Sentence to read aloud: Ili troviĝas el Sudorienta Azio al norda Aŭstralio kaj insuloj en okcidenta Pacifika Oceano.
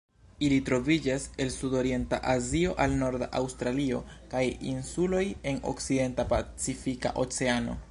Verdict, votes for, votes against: rejected, 1, 2